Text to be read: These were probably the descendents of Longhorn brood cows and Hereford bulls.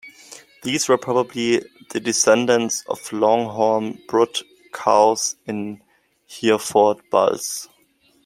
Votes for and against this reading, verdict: 1, 2, rejected